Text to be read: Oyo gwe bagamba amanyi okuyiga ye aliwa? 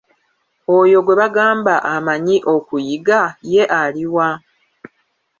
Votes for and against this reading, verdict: 1, 2, rejected